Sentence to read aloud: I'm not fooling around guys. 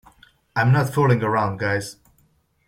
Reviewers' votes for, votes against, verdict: 2, 0, accepted